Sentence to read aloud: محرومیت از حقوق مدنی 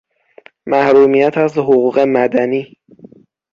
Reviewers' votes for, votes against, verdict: 6, 0, accepted